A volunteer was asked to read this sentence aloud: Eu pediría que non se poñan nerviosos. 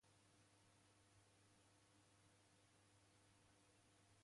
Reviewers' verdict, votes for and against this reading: rejected, 0, 2